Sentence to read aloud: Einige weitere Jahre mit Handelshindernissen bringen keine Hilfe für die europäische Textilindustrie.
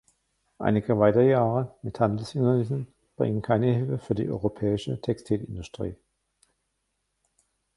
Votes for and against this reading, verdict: 1, 2, rejected